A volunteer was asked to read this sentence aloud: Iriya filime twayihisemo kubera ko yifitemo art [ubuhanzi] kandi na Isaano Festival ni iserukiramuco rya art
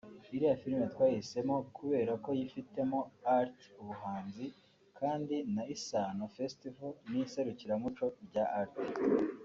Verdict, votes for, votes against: accepted, 2, 0